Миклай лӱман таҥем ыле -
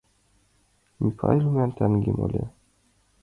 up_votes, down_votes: 2, 0